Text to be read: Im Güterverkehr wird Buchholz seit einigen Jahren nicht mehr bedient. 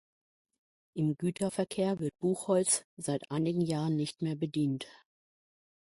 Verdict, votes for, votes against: accepted, 2, 0